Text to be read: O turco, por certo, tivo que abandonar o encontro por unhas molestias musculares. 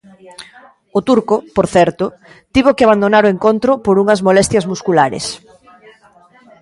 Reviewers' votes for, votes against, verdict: 0, 2, rejected